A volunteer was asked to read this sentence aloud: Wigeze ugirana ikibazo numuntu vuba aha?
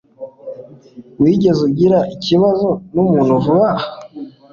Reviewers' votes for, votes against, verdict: 2, 1, accepted